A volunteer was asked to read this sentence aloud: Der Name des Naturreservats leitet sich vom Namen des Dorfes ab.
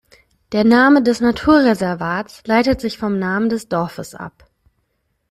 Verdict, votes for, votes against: accepted, 2, 0